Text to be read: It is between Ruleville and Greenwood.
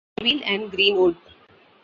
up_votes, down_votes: 0, 2